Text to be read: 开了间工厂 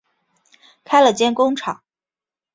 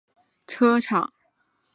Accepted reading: first